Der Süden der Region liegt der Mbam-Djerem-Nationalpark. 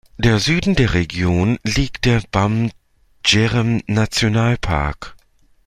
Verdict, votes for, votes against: rejected, 0, 2